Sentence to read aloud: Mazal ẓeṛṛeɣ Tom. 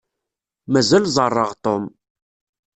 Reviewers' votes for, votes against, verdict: 2, 0, accepted